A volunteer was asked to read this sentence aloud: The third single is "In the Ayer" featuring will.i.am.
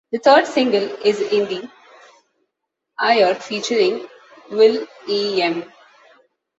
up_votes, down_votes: 0, 2